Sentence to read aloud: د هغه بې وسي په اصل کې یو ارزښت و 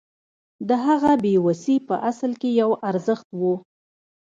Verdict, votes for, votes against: accepted, 2, 1